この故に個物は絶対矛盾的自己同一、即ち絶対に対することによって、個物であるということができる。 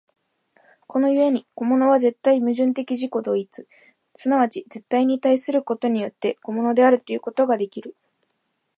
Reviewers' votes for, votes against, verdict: 1, 2, rejected